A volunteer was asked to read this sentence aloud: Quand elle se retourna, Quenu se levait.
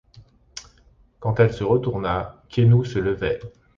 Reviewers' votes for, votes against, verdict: 2, 0, accepted